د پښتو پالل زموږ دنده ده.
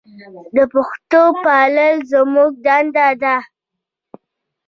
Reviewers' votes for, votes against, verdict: 1, 2, rejected